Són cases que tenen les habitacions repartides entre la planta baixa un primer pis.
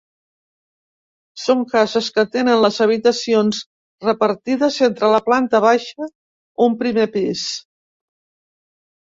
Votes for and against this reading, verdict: 2, 0, accepted